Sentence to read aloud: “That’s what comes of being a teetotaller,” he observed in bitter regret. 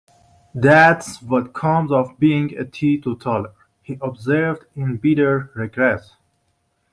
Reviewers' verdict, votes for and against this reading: rejected, 0, 2